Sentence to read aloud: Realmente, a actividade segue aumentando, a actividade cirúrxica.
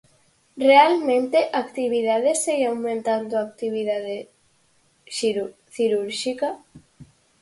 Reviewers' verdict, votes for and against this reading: rejected, 0, 4